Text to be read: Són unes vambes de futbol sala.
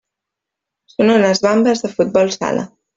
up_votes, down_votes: 1, 2